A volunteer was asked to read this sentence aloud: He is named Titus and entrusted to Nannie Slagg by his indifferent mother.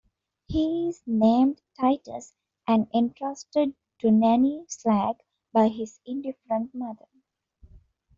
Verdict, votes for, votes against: rejected, 0, 2